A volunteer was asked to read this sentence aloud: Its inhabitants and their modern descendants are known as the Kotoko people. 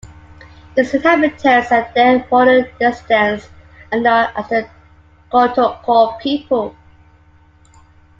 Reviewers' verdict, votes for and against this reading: rejected, 0, 2